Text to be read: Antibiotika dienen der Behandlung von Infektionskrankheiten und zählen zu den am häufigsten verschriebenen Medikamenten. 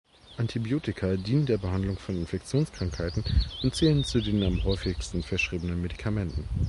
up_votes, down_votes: 2, 0